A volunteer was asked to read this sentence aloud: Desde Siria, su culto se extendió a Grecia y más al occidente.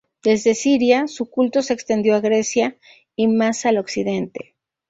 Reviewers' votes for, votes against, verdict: 2, 0, accepted